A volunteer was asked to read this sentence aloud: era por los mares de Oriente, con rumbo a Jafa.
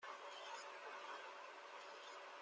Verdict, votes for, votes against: rejected, 0, 2